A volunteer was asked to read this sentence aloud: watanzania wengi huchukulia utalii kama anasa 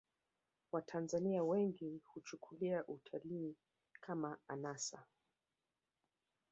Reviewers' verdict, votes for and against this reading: rejected, 1, 2